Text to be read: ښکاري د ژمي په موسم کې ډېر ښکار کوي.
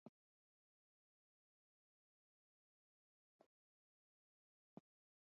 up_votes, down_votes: 0, 2